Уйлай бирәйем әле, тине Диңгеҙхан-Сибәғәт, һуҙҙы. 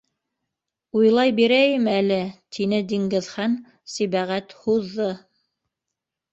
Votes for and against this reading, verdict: 2, 1, accepted